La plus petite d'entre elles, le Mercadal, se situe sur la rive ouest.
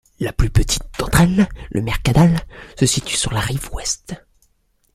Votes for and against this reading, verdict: 2, 0, accepted